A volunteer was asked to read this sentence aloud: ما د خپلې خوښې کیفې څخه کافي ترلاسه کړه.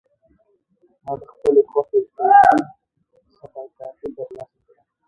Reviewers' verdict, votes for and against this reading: rejected, 1, 2